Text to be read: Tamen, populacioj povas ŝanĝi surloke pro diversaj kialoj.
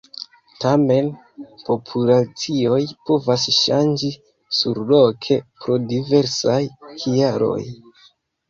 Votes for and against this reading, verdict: 2, 0, accepted